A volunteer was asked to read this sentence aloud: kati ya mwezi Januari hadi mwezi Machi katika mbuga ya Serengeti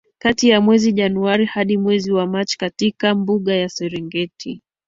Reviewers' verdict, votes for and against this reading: accepted, 2, 1